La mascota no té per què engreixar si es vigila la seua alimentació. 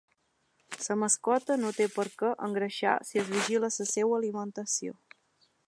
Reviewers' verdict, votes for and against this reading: rejected, 1, 3